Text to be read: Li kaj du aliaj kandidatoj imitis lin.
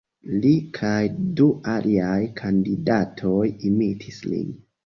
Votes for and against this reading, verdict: 2, 1, accepted